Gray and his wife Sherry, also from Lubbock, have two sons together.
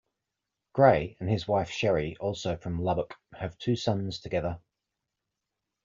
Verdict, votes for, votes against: accepted, 2, 0